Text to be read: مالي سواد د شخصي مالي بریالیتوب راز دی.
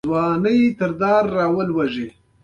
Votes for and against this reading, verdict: 0, 2, rejected